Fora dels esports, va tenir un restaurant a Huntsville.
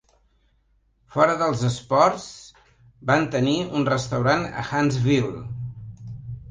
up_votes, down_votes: 1, 2